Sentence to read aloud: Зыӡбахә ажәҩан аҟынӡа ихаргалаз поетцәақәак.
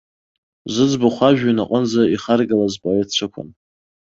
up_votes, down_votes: 2, 0